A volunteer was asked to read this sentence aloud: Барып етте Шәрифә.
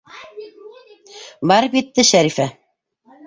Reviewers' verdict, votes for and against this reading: rejected, 0, 2